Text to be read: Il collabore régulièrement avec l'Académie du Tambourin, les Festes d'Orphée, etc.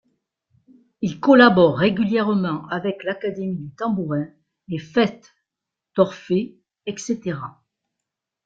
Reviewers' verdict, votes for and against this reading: accepted, 2, 0